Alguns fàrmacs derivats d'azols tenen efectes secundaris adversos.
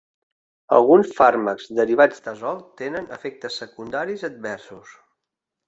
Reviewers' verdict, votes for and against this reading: rejected, 1, 2